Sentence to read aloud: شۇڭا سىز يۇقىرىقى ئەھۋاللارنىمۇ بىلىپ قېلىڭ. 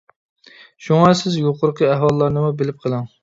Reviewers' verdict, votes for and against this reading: accepted, 3, 0